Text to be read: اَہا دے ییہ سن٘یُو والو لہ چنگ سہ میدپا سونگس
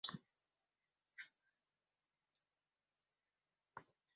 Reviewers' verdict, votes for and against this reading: rejected, 1, 2